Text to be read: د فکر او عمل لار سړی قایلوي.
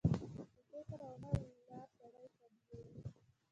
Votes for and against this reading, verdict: 1, 2, rejected